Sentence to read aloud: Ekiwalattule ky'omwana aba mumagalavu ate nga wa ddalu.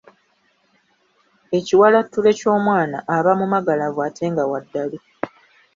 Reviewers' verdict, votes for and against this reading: accepted, 2, 0